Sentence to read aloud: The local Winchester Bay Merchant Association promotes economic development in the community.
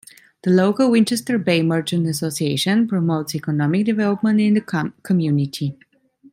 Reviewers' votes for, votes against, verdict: 0, 2, rejected